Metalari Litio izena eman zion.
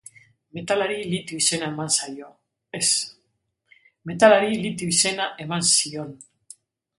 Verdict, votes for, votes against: rejected, 0, 4